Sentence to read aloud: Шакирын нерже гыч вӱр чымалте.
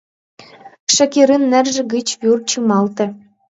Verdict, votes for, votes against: accepted, 2, 1